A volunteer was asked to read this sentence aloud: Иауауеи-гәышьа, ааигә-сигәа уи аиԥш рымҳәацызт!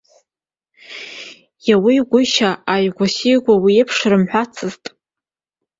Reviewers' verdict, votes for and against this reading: accepted, 2, 0